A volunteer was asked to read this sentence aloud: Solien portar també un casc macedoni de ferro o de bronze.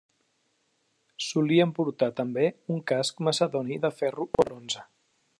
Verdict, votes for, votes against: rejected, 0, 2